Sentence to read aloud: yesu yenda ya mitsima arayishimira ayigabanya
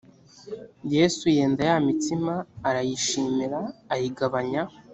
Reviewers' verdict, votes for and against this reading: accepted, 2, 0